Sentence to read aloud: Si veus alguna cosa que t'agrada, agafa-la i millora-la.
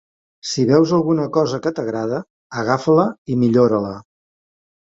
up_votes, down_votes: 2, 0